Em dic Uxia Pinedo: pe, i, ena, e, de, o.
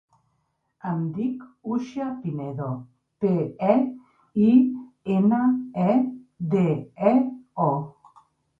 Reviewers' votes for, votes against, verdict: 0, 2, rejected